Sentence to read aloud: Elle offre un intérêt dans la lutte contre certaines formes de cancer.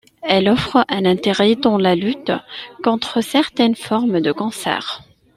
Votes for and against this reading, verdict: 2, 0, accepted